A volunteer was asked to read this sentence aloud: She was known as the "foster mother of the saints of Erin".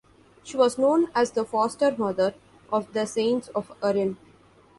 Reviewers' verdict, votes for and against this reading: accepted, 2, 1